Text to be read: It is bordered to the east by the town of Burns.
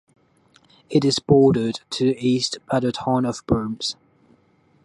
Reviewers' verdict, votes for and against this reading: rejected, 1, 2